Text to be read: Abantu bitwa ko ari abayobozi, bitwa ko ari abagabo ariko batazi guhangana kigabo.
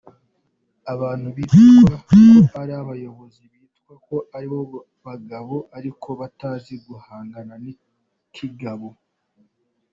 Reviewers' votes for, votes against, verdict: 0, 3, rejected